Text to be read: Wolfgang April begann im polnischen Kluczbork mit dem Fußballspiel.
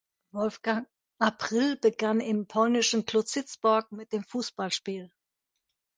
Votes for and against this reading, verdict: 1, 2, rejected